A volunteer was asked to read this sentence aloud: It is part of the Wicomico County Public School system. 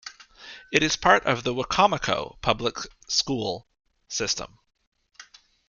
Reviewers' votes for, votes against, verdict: 1, 2, rejected